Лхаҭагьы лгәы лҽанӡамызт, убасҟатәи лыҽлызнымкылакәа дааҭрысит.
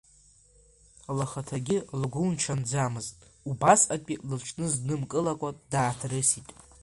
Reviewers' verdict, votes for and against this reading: accepted, 2, 1